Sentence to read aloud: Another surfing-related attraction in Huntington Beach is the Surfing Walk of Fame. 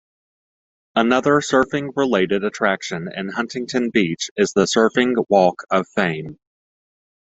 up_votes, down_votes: 2, 1